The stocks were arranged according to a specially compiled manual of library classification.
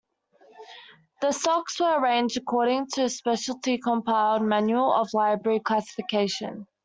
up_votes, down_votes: 1, 2